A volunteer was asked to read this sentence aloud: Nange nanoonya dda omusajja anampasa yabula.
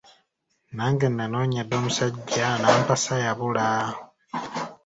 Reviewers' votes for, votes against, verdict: 2, 0, accepted